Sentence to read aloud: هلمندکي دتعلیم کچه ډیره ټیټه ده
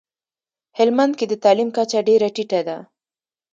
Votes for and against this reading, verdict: 2, 1, accepted